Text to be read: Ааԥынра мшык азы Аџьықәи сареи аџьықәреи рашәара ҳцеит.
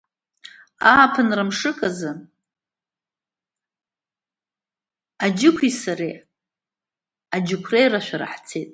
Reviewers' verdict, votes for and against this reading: accepted, 2, 0